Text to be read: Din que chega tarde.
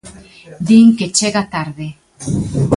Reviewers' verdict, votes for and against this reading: accepted, 2, 0